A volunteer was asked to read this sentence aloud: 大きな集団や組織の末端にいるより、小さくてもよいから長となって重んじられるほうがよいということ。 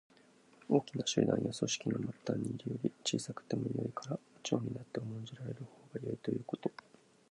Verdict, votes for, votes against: rejected, 0, 2